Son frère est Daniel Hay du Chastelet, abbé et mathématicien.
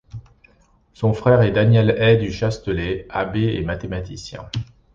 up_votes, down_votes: 2, 1